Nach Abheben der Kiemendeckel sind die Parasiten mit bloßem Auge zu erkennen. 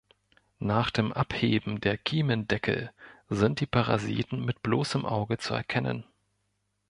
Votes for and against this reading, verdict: 2, 3, rejected